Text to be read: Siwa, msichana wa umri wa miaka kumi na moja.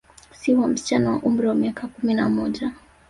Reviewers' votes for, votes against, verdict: 0, 2, rejected